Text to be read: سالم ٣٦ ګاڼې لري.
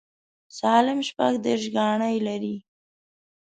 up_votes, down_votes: 0, 2